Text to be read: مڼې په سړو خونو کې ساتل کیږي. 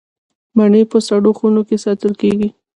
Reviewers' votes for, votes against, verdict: 0, 2, rejected